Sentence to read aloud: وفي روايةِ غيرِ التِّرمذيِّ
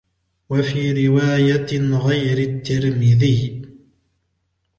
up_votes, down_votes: 2, 0